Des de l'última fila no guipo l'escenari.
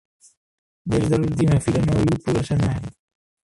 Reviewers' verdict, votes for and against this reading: rejected, 1, 2